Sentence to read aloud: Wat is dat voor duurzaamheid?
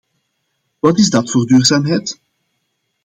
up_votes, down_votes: 2, 0